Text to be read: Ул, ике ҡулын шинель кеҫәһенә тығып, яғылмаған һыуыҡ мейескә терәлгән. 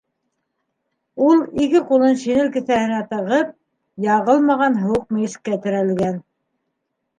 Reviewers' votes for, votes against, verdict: 2, 1, accepted